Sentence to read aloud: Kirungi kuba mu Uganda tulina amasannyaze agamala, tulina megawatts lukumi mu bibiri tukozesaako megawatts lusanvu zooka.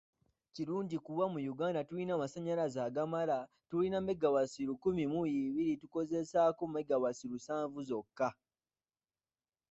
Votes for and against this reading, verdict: 2, 1, accepted